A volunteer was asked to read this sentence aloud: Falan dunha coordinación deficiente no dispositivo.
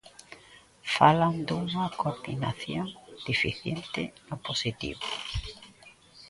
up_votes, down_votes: 0, 2